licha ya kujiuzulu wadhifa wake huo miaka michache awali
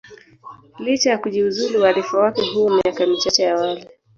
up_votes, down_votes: 1, 2